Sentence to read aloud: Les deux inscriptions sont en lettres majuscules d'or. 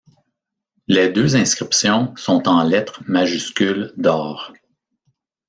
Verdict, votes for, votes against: accepted, 2, 0